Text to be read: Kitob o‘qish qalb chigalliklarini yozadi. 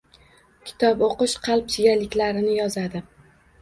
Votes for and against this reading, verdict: 2, 0, accepted